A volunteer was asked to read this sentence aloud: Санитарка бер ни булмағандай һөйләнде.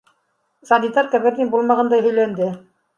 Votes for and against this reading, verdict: 2, 0, accepted